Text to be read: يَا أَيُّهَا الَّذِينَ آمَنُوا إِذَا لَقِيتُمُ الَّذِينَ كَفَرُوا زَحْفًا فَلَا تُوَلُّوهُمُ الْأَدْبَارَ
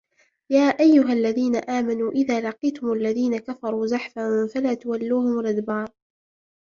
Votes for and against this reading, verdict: 1, 2, rejected